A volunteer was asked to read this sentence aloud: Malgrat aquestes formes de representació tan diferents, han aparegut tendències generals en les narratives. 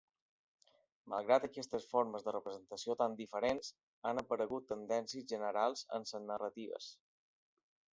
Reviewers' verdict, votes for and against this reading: rejected, 0, 2